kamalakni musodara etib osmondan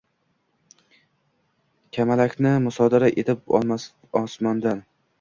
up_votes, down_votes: 1, 2